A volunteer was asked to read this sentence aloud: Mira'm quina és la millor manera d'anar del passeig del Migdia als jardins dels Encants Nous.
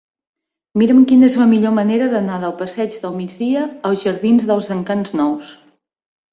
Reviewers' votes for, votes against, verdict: 3, 0, accepted